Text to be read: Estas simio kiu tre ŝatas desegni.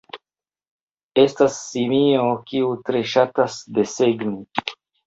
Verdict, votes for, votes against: rejected, 1, 2